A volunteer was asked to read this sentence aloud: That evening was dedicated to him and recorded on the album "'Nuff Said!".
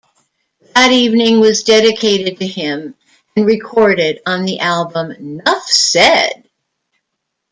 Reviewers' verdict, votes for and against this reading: accepted, 2, 0